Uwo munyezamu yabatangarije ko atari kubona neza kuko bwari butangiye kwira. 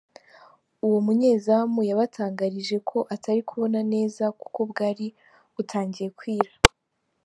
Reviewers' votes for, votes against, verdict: 2, 1, accepted